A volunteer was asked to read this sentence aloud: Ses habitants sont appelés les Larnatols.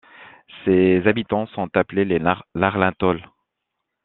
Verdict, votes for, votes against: rejected, 0, 2